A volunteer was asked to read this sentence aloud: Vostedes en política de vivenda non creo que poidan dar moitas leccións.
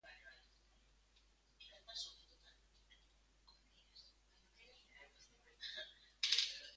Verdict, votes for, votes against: rejected, 0, 2